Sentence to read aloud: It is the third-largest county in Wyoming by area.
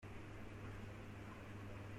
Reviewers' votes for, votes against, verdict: 0, 2, rejected